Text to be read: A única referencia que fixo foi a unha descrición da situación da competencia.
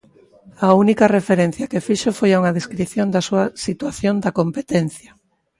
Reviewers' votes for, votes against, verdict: 0, 2, rejected